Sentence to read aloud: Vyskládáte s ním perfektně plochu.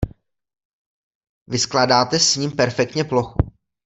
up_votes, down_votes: 2, 0